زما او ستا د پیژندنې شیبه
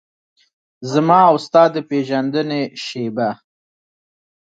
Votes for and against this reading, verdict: 2, 1, accepted